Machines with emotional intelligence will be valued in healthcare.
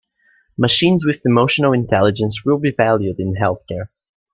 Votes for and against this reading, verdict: 2, 0, accepted